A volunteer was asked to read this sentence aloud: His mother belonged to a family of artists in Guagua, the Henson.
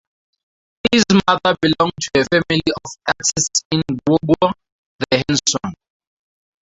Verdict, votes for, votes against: rejected, 0, 2